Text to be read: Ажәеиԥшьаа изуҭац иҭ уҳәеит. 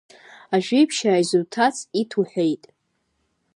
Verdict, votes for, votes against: accepted, 2, 0